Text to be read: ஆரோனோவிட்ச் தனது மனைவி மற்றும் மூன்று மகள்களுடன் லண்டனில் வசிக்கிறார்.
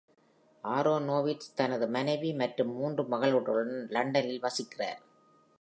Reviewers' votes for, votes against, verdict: 2, 0, accepted